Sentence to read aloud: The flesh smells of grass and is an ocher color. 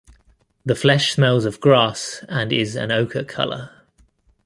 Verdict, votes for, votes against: accepted, 2, 0